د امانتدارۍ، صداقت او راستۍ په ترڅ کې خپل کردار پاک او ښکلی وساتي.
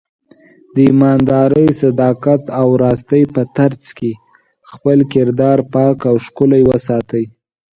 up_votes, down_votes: 1, 3